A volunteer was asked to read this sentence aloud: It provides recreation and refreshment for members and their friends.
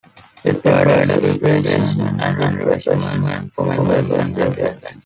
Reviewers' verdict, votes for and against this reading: rejected, 1, 2